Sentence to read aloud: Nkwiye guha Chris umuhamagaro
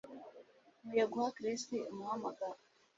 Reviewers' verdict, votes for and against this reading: accepted, 2, 0